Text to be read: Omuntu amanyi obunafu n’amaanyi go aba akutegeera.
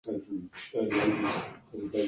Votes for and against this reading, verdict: 0, 2, rejected